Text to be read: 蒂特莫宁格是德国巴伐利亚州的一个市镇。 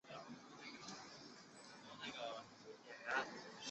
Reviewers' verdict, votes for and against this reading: rejected, 0, 3